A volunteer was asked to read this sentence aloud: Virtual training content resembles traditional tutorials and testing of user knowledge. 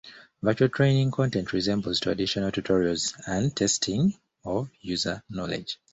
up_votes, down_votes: 2, 0